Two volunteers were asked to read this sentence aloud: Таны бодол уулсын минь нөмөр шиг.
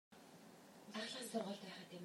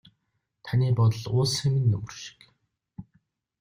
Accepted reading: second